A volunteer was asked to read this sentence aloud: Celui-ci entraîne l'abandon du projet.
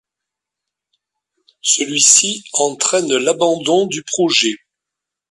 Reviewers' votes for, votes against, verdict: 2, 1, accepted